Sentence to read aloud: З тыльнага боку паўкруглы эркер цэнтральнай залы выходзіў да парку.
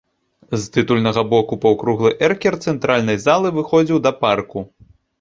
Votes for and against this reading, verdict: 1, 2, rejected